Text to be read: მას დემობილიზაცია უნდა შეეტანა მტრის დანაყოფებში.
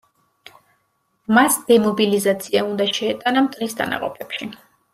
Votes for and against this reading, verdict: 2, 0, accepted